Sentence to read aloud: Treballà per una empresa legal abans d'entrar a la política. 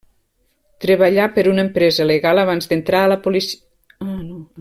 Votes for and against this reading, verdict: 0, 2, rejected